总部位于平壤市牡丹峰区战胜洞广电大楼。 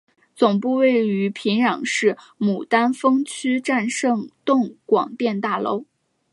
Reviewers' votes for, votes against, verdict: 1, 2, rejected